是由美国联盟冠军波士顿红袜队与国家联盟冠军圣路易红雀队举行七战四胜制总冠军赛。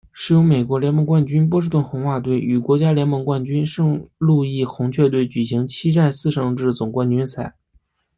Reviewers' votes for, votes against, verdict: 0, 2, rejected